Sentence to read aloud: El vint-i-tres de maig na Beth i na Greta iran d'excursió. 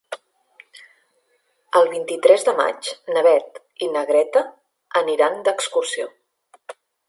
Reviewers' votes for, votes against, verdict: 0, 2, rejected